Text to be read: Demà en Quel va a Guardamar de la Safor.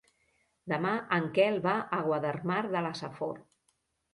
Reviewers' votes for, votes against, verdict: 1, 2, rejected